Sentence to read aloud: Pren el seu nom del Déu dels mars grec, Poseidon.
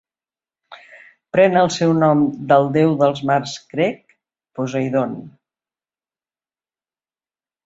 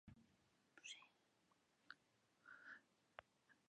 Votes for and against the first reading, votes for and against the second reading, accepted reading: 2, 0, 0, 2, first